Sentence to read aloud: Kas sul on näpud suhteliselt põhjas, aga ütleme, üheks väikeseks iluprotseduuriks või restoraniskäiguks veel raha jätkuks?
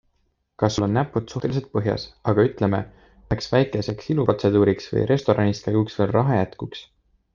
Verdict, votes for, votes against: accepted, 3, 0